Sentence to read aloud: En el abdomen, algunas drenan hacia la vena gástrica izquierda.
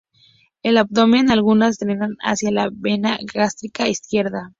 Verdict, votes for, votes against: rejected, 2, 2